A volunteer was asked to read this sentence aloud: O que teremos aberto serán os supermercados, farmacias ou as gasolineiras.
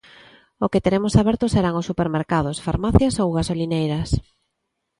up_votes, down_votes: 1, 3